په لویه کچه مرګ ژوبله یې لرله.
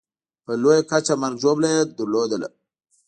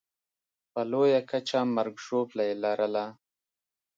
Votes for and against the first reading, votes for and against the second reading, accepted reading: 1, 2, 2, 0, second